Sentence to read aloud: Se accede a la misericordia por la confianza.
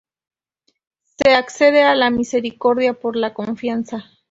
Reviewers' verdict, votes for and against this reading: rejected, 0, 2